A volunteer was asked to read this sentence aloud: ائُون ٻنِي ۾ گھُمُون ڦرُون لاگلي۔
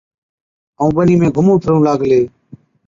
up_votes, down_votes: 2, 0